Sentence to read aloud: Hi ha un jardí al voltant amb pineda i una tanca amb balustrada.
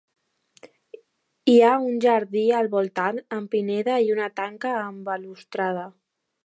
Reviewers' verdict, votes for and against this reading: accepted, 2, 0